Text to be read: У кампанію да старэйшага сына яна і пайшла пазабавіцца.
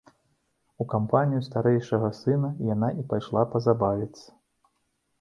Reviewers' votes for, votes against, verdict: 0, 2, rejected